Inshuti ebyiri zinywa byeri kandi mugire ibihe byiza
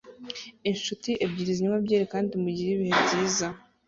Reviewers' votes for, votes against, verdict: 2, 0, accepted